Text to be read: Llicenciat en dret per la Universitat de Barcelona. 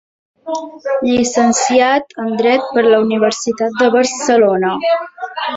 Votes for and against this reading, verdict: 0, 2, rejected